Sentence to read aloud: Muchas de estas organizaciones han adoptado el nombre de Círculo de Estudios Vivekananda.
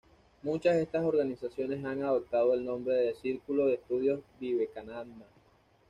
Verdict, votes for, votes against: accepted, 2, 1